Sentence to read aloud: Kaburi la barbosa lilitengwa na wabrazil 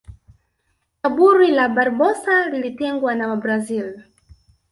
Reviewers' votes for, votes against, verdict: 0, 2, rejected